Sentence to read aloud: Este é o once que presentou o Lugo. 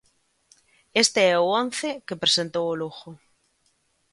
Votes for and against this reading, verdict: 2, 0, accepted